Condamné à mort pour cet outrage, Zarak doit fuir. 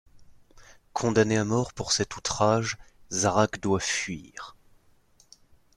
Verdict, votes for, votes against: accepted, 2, 0